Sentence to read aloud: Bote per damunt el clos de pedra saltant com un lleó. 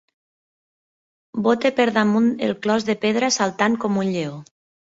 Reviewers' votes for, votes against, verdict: 2, 0, accepted